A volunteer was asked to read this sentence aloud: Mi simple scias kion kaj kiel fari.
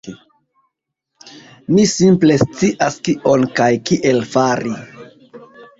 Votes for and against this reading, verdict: 0, 2, rejected